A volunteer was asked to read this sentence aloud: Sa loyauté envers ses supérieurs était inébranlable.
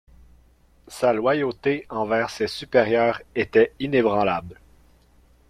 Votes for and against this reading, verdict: 0, 2, rejected